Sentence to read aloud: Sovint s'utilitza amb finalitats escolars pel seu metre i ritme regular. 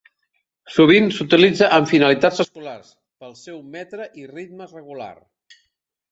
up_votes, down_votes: 0, 2